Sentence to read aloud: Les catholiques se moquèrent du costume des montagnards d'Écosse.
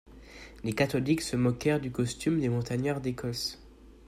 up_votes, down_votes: 2, 0